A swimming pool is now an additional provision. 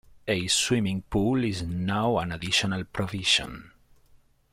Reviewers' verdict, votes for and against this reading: rejected, 0, 2